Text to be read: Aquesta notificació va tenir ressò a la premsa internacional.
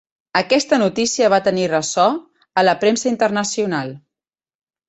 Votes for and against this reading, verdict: 2, 1, accepted